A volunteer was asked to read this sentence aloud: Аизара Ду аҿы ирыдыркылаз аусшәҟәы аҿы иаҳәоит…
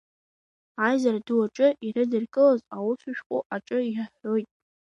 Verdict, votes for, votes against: accepted, 2, 1